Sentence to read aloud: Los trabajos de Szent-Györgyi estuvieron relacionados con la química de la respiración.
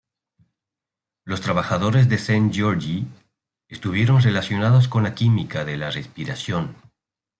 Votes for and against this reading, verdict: 1, 2, rejected